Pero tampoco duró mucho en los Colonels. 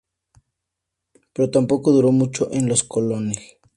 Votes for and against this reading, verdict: 2, 0, accepted